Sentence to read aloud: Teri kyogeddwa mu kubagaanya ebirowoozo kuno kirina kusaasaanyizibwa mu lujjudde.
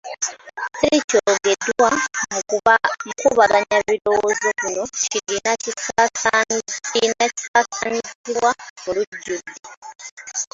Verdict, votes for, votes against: rejected, 0, 2